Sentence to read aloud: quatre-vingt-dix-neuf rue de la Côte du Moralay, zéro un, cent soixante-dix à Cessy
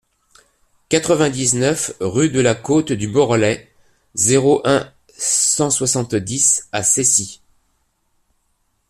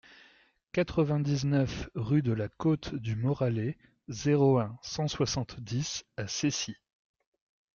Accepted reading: second